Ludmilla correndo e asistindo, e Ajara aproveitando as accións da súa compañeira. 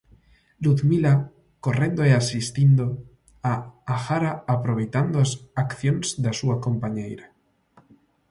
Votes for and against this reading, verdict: 0, 2, rejected